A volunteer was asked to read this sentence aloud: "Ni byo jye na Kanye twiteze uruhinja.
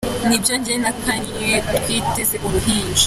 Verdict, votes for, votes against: accepted, 2, 1